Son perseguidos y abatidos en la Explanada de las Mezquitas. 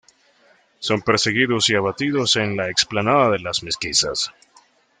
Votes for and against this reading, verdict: 1, 2, rejected